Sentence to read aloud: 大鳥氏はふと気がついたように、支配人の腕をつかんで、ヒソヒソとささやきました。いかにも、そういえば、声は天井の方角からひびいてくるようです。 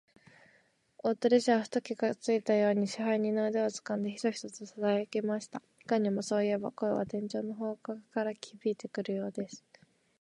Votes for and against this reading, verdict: 2, 0, accepted